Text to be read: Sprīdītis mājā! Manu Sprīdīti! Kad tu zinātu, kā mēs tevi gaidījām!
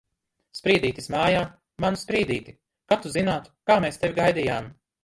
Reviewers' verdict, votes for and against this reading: rejected, 1, 2